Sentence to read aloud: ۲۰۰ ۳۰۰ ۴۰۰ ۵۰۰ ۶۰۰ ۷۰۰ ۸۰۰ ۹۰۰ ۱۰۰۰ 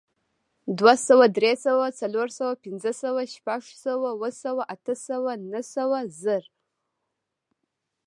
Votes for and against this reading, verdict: 0, 2, rejected